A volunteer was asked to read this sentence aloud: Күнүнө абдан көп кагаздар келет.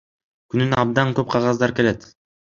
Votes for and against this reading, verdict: 2, 0, accepted